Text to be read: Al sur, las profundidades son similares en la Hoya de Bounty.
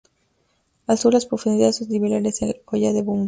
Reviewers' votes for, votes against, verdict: 0, 2, rejected